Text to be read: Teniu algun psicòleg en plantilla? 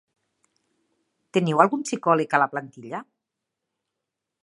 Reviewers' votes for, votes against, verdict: 0, 2, rejected